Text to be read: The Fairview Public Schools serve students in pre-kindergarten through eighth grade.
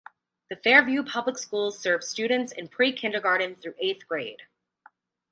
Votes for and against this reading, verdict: 2, 0, accepted